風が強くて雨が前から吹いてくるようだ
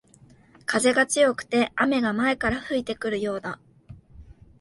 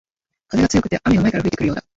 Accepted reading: first